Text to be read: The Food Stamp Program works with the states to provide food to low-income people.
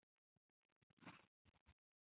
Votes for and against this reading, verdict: 0, 2, rejected